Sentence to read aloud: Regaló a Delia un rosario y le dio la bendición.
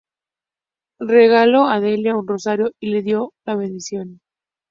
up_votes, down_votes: 2, 0